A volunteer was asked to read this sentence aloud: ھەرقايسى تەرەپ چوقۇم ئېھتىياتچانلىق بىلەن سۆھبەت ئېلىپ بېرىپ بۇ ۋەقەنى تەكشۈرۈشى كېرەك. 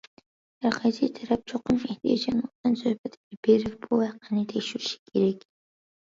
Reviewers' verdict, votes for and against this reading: rejected, 1, 2